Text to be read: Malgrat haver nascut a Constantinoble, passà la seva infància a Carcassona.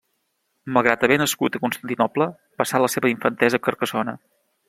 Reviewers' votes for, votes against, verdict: 0, 2, rejected